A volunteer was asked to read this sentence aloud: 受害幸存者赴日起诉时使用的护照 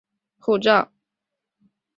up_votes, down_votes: 0, 2